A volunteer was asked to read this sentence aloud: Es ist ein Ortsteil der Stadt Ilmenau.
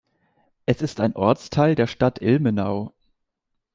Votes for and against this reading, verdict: 2, 0, accepted